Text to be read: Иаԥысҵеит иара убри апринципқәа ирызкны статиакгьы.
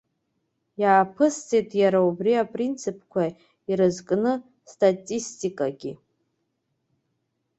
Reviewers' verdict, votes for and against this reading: rejected, 0, 2